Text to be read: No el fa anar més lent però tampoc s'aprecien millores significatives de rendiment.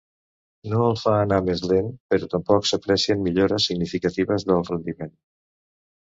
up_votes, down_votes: 1, 2